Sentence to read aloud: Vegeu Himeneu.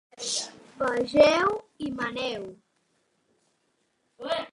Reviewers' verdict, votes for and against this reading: rejected, 0, 2